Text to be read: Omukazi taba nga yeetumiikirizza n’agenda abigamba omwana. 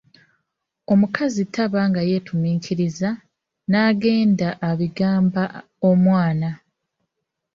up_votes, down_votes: 0, 2